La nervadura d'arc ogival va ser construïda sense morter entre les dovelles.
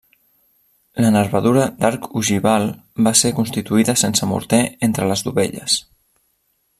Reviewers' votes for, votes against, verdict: 1, 2, rejected